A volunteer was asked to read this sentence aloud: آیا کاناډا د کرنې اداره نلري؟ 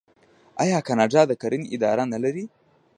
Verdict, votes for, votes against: rejected, 0, 2